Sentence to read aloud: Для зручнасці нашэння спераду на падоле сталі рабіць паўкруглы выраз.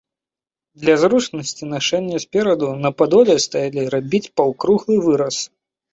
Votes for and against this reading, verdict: 1, 2, rejected